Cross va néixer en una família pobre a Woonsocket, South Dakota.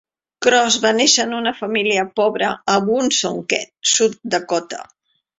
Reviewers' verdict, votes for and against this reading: accepted, 2, 0